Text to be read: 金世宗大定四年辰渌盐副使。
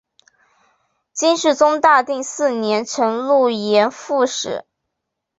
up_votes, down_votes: 2, 0